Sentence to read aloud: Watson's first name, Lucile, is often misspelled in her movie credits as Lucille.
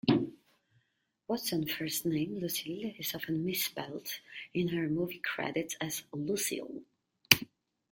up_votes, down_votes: 2, 0